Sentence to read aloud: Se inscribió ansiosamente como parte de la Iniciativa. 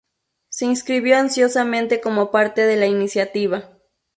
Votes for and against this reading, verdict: 0, 2, rejected